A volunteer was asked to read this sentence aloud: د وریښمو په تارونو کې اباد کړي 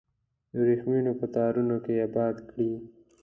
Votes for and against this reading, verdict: 2, 0, accepted